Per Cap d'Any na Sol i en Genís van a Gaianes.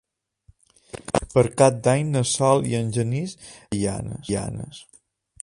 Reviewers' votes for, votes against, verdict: 0, 2, rejected